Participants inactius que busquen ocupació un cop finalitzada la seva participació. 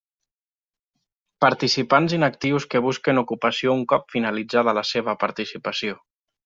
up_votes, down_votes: 3, 0